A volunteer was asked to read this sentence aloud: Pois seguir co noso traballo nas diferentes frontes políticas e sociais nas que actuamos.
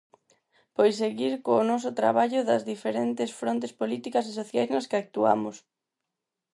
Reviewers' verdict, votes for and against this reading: rejected, 2, 4